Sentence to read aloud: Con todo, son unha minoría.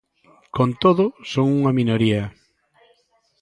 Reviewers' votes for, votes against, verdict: 2, 0, accepted